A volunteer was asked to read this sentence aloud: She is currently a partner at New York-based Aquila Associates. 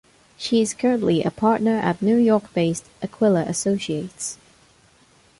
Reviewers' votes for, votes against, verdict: 2, 0, accepted